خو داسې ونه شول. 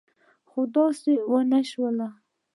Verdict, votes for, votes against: accepted, 3, 0